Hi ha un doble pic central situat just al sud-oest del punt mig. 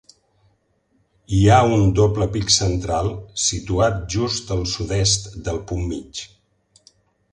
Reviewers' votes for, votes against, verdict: 0, 2, rejected